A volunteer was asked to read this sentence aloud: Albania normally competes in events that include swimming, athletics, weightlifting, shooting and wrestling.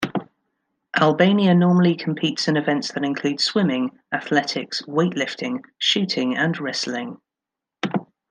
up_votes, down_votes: 3, 0